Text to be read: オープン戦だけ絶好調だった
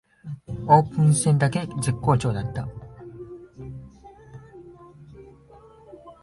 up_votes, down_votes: 0, 2